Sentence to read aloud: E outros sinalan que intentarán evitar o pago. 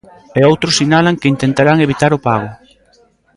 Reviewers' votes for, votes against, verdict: 1, 2, rejected